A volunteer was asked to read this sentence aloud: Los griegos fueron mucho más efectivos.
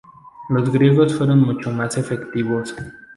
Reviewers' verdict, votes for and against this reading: accepted, 4, 0